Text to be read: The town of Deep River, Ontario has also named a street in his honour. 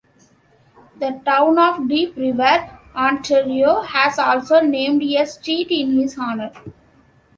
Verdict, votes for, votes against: accepted, 2, 0